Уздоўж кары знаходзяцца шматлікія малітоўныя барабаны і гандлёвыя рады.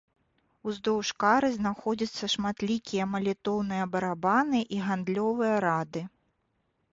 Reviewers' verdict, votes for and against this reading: rejected, 0, 2